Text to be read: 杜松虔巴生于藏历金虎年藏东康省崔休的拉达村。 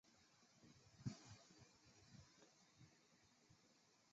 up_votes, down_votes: 1, 2